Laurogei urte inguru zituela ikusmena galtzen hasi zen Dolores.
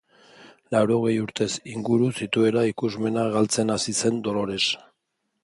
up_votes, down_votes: 1, 3